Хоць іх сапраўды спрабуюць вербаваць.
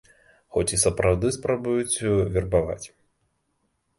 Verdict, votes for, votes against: rejected, 0, 2